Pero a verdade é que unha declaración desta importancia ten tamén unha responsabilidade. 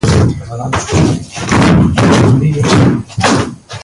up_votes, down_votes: 0, 2